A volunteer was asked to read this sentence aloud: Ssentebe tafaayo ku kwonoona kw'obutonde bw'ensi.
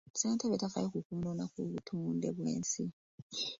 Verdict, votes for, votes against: accepted, 2, 1